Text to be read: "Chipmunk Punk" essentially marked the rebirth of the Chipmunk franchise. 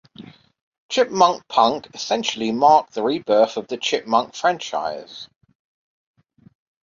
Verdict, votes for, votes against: accepted, 2, 1